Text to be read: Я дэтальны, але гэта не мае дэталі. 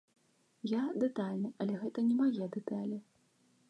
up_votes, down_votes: 2, 0